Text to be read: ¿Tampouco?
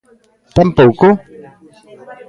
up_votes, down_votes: 2, 0